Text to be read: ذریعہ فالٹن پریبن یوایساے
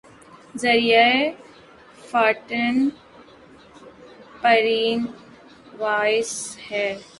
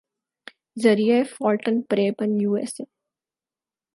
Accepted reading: second